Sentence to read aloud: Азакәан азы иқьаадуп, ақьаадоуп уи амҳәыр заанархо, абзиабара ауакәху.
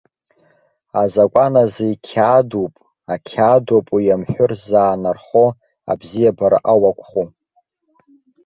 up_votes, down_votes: 2, 0